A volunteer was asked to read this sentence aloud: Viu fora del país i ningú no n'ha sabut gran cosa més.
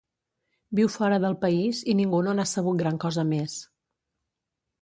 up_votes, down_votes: 2, 0